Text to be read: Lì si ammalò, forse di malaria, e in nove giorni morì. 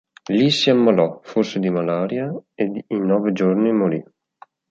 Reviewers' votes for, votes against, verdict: 0, 2, rejected